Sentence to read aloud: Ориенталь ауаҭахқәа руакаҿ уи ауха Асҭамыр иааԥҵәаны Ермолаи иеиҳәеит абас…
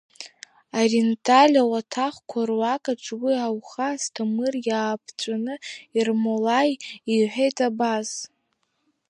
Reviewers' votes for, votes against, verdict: 1, 2, rejected